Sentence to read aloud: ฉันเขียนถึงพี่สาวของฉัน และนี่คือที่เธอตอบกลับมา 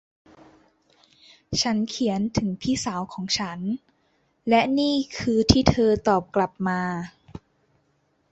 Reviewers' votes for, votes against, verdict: 2, 0, accepted